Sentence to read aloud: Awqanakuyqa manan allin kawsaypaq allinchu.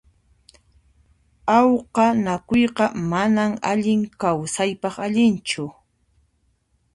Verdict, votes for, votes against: accepted, 2, 0